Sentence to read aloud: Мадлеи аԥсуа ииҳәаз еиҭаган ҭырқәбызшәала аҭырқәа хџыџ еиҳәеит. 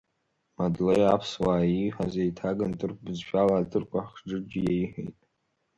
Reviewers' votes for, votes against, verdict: 3, 0, accepted